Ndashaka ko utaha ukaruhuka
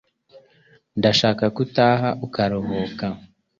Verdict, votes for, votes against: accepted, 2, 0